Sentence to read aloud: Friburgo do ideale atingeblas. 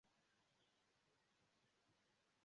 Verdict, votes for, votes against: rejected, 0, 2